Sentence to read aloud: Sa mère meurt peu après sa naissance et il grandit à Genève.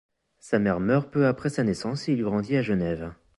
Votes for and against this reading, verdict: 2, 0, accepted